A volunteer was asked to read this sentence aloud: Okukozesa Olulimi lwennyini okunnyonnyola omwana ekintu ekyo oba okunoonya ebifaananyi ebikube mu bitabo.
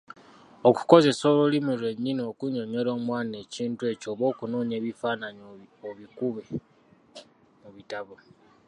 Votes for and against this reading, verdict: 0, 2, rejected